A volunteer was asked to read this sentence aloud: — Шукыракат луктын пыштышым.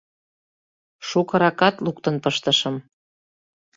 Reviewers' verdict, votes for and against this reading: accepted, 2, 0